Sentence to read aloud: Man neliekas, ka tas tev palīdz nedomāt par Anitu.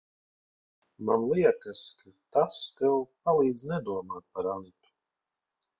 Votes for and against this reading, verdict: 0, 3, rejected